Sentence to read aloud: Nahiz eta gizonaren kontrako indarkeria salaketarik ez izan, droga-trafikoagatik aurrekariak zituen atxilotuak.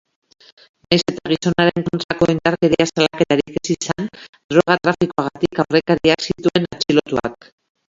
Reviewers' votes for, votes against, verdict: 0, 2, rejected